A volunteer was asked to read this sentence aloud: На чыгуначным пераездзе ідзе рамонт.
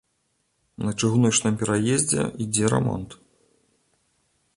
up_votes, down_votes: 3, 0